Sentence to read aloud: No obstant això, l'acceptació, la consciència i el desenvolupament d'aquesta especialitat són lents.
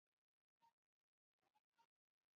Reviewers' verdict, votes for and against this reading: rejected, 0, 2